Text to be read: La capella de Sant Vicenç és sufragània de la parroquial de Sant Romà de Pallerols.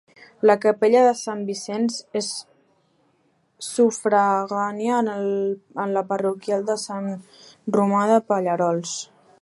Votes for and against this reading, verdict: 0, 2, rejected